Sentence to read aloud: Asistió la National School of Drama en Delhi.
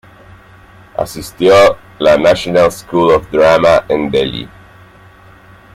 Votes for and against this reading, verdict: 1, 2, rejected